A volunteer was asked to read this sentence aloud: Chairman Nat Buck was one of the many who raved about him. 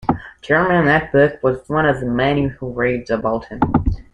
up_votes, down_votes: 2, 1